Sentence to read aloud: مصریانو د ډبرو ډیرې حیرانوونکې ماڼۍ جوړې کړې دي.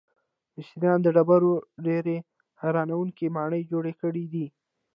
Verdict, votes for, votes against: rejected, 0, 2